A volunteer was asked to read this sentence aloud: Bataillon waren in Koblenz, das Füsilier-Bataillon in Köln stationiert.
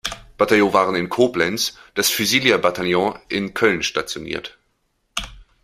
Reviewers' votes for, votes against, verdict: 1, 2, rejected